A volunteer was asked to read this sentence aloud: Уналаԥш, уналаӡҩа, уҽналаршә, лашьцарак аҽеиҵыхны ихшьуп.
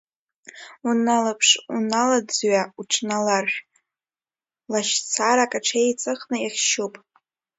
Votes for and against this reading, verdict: 0, 2, rejected